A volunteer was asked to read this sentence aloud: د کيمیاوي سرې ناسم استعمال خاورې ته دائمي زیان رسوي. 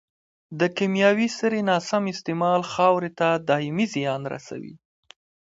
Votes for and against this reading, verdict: 2, 1, accepted